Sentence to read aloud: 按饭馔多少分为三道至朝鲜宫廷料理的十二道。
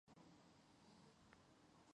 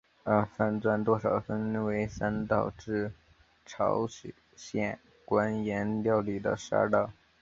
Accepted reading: second